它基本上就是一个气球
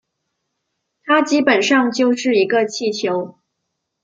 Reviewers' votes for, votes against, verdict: 2, 0, accepted